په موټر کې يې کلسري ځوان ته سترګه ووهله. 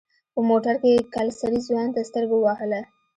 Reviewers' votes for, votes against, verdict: 3, 0, accepted